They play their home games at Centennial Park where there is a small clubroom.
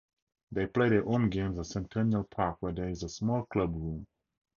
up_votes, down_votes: 2, 0